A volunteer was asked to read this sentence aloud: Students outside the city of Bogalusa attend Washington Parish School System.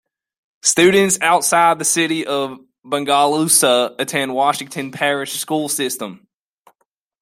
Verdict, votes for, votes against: rejected, 1, 2